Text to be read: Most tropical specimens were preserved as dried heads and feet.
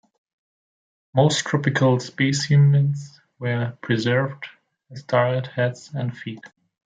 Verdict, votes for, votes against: accepted, 2, 0